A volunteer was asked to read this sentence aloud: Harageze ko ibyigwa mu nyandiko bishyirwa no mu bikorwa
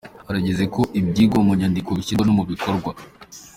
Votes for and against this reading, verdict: 2, 1, accepted